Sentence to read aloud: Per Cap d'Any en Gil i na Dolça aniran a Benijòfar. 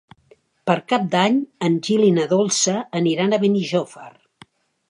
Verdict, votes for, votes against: accepted, 2, 0